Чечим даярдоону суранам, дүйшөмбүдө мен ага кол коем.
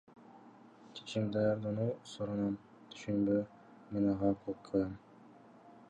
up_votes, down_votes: 1, 2